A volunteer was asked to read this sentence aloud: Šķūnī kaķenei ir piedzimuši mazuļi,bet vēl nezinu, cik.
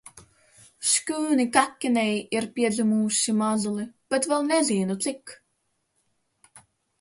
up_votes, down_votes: 0, 2